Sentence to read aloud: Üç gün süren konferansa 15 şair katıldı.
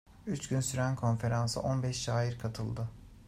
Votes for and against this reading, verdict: 0, 2, rejected